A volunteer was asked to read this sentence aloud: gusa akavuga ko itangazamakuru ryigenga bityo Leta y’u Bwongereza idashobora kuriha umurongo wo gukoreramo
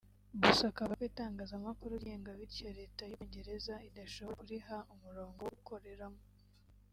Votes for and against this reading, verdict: 0, 2, rejected